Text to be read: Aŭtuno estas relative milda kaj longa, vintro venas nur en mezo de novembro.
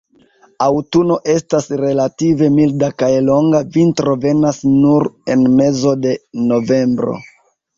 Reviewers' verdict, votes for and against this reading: rejected, 0, 2